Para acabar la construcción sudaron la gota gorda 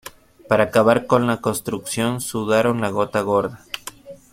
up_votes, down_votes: 0, 2